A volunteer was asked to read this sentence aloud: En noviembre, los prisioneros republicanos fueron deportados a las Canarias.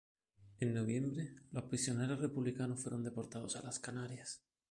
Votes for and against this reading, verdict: 1, 2, rejected